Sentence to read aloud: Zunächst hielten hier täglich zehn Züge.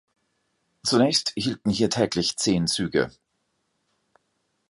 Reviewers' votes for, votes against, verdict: 2, 0, accepted